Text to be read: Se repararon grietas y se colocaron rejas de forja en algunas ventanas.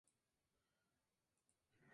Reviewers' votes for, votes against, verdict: 0, 2, rejected